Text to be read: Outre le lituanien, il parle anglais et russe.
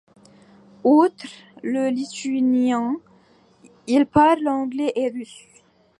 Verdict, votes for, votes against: accepted, 2, 1